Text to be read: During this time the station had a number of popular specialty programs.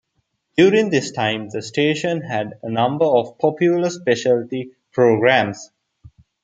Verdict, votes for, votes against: accepted, 2, 0